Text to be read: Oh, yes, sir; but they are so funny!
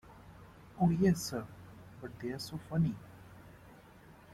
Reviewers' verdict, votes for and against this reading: accepted, 2, 1